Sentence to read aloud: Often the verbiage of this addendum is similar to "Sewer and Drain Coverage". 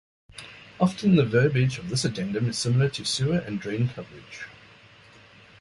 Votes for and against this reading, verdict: 2, 0, accepted